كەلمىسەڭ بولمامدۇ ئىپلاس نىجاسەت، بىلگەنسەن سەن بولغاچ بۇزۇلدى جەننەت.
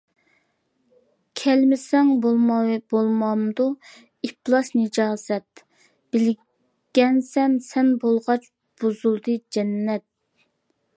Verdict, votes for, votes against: rejected, 0, 2